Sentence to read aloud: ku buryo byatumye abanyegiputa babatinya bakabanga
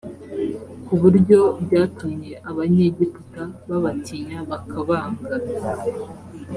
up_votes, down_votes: 3, 0